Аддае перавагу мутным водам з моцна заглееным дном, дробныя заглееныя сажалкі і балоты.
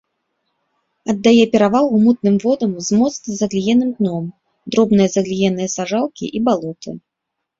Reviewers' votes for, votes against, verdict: 0, 2, rejected